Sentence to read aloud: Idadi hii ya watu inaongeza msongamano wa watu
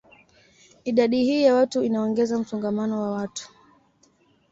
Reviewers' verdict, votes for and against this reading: accepted, 2, 0